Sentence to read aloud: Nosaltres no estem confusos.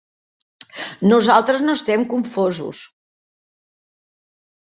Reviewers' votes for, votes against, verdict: 0, 2, rejected